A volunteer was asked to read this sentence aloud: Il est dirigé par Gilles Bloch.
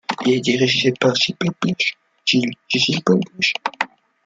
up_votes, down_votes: 1, 2